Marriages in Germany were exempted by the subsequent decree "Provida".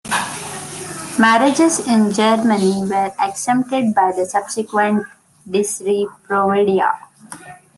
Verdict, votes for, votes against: rejected, 0, 2